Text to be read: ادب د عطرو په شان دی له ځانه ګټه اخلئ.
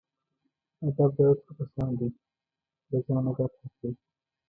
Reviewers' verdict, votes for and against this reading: rejected, 1, 2